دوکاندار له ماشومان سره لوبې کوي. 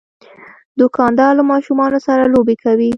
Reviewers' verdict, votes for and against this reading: accepted, 2, 0